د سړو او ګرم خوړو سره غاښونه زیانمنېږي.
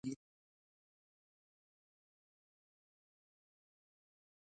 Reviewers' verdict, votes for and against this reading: rejected, 1, 2